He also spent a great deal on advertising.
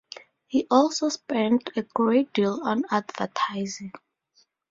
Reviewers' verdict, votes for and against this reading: accepted, 2, 0